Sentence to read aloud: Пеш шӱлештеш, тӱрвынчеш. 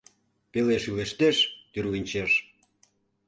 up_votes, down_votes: 1, 2